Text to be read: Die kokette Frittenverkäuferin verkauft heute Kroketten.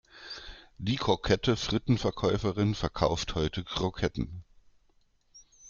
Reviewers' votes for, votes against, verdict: 1, 2, rejected